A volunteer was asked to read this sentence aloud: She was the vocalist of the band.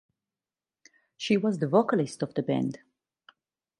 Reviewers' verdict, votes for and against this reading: rejected, 2, 2